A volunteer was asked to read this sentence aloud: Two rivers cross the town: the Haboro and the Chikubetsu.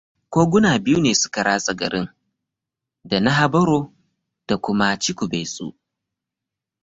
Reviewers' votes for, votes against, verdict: 0, 2, rejected